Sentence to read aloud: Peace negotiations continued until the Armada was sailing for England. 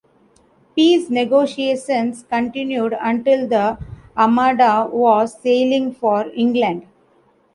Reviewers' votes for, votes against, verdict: 2, 0, accepted